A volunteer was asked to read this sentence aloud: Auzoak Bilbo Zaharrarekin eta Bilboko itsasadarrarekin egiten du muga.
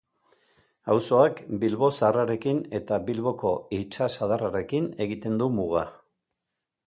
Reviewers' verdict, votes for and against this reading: accepted, 2, 0